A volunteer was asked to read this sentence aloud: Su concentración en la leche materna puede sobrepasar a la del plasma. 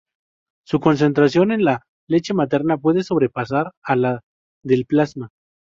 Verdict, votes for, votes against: rejected, 0, 2